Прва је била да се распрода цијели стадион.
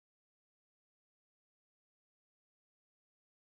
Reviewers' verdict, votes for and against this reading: rejected, 0, 2